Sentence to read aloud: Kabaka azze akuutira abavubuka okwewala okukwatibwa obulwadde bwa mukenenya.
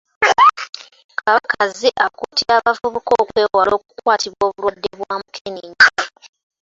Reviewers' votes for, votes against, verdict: 0, 2, rejected